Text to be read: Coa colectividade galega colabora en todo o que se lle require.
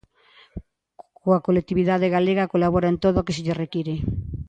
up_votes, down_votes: 2, 0